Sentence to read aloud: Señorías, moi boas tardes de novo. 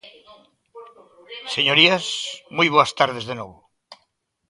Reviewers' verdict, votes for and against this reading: rejected, 1, 2